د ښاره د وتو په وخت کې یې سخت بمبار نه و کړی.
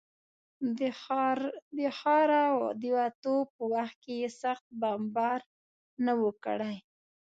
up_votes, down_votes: 2, 0